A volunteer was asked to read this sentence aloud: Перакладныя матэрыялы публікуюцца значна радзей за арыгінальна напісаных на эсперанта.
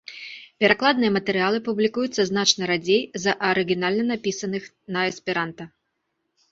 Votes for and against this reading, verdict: 2, 0, accepted